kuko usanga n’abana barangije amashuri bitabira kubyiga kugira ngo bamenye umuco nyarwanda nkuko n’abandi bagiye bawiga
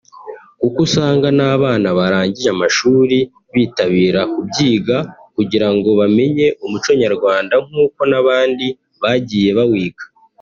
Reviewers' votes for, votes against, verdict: 0, 2, rejected